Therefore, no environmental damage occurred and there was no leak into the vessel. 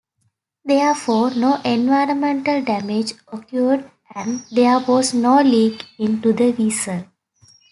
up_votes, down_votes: 2, 0